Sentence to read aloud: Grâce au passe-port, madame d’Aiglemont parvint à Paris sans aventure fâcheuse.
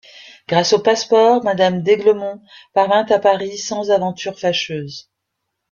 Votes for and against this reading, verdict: 2, 0, accepted